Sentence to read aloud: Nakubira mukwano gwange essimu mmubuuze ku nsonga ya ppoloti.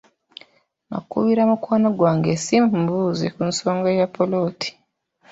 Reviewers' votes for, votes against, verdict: 0, 2, rejected